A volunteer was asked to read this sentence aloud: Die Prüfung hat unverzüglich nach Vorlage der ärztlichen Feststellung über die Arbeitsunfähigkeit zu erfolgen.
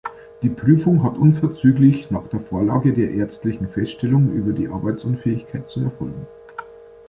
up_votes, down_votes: 0, 2